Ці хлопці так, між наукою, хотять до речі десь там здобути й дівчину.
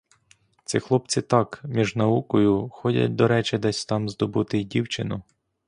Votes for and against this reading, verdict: 0, 2, rejected